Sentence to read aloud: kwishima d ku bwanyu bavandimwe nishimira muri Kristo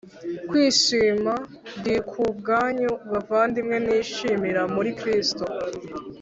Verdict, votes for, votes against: accepted, 2, 0